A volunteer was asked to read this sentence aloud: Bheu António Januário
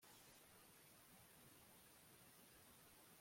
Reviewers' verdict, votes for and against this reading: rejected, 0, 2